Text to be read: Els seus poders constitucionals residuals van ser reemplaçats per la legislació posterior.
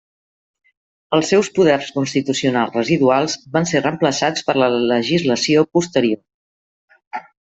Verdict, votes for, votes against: rejected, 1, 2